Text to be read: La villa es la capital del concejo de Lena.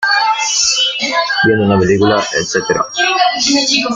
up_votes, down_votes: 0, 2